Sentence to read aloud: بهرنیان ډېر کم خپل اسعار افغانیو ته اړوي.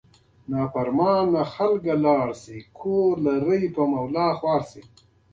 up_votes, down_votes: 1, 2